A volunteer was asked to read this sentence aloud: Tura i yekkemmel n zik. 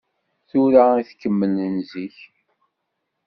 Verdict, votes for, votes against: rejected, 1, 2